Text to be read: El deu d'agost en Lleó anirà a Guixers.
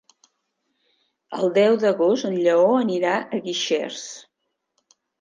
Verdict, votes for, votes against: accepted, 3, 0